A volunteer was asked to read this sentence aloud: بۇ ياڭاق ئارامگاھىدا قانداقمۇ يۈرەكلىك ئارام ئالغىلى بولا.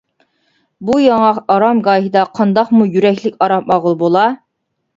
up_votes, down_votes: 2, 0